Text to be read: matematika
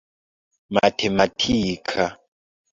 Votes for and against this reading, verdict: 2, 1, accepted